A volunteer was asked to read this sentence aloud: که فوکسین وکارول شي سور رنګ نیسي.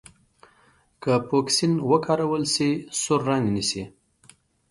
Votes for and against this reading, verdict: 2, 0, accepted